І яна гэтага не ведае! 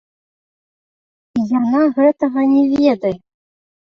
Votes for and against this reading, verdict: 0, 2, rejected